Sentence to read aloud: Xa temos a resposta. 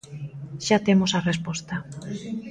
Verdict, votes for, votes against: rejected, 1, 2